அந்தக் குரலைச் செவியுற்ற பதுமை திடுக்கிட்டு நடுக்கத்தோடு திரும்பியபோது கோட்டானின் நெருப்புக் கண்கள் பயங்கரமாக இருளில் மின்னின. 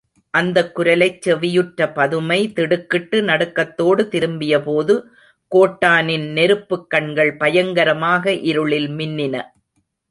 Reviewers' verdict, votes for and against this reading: rejected, 0, 2